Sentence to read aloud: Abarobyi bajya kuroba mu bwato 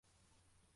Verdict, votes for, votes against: rejected, 0, 2